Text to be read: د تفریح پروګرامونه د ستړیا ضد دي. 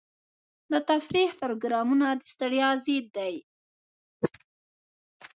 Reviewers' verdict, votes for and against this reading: accepted, 2, 0